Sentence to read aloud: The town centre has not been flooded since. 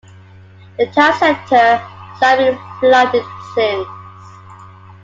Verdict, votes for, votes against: rejected, 1, 2